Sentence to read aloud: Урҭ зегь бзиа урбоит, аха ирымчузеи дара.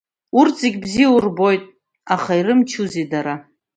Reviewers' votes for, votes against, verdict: 2, 0, accepted